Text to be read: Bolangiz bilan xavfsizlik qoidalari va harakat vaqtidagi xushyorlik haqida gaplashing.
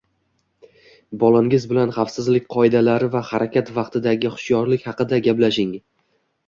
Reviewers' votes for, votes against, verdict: 2, 0, accepted